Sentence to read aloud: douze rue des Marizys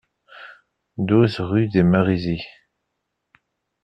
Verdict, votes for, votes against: accepted, 2, 0